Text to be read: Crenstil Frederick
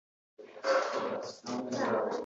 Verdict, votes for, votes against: rejected, 0, 2